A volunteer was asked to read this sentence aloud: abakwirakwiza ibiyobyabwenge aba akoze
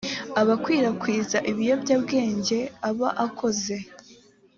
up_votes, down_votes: 3, 0